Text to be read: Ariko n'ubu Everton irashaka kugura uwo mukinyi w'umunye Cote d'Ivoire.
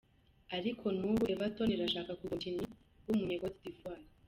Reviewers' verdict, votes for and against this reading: rejected, 1, 2